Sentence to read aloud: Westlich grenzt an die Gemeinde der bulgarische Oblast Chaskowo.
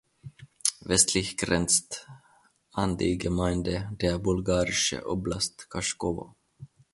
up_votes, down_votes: 2, 0